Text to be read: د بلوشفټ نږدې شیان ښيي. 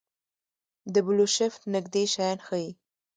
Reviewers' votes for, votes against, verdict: 3, 1, accepted